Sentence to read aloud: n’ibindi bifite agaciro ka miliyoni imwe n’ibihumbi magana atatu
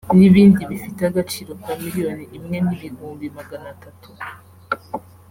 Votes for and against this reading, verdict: 2, 0, accepted